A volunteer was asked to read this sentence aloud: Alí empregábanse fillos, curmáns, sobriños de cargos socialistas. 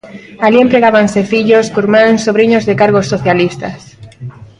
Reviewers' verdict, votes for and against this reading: accepted, 2, 0